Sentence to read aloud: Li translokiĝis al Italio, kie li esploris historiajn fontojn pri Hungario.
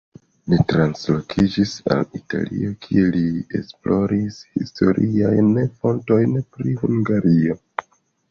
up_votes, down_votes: 2, 1